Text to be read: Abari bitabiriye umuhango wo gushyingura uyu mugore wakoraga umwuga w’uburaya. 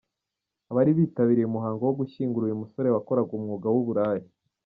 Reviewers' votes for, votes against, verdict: 2, 1, accepted